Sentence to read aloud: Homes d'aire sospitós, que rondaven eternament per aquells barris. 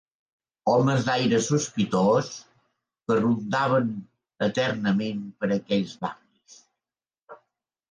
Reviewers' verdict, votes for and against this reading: accepted, 2, 0